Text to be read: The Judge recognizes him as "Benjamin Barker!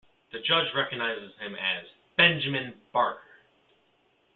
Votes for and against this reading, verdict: 2, 0, accepted